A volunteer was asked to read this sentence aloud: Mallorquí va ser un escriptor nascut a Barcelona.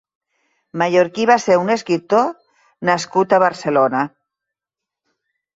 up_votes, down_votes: 3, 0